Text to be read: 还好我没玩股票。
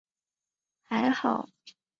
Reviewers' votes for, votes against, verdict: 0, 2, rejected